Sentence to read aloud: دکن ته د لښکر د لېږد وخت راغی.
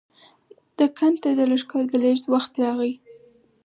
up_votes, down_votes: 4, 0